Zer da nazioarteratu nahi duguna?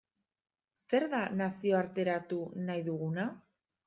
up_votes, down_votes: 2, 0